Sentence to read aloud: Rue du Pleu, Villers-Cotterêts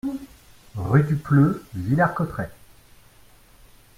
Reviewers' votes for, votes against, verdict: 2, 0, accepted